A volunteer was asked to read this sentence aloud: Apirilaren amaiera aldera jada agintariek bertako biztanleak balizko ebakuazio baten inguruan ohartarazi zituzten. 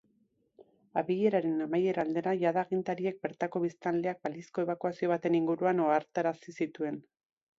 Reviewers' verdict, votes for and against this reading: rejected, 1, 2